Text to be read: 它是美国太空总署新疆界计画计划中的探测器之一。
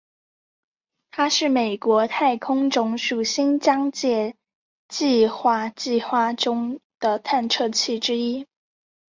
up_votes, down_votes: 2, 0